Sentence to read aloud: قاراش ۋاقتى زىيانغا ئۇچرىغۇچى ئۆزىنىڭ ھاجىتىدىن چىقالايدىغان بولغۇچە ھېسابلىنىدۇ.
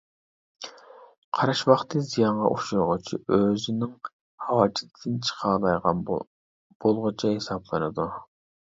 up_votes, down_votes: 0, 2